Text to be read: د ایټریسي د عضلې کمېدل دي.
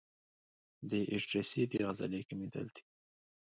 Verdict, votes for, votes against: accepted, 2, 1